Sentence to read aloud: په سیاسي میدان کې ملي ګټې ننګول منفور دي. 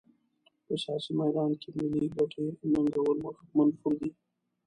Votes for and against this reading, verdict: 1, 2, rejected